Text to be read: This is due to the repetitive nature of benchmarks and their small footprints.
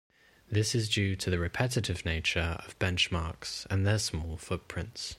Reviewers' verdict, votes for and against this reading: accepted, 2, 0